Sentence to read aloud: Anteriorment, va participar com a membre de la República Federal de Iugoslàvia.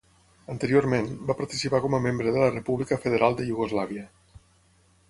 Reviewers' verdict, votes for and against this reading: accepted, 6, 0